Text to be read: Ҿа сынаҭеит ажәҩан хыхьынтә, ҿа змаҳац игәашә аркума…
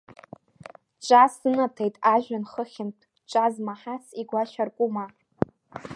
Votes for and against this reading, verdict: 0, 2, rejected